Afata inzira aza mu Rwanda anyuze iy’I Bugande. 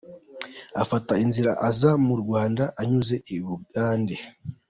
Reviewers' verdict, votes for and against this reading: accepted, 2, 1